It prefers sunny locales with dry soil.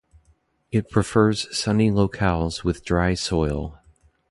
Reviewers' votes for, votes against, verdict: 0, 2, rejected